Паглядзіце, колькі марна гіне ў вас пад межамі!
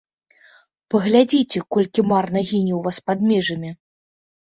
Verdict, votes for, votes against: accepted, 2, 1